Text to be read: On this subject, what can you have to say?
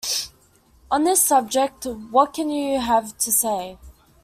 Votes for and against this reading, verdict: 2, 0, accepted